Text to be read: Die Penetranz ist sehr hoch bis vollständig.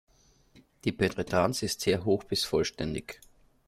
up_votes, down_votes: 1, 2